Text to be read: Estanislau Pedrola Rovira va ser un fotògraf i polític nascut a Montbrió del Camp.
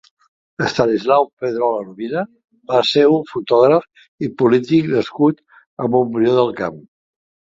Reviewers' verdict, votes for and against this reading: accepted, 6, 0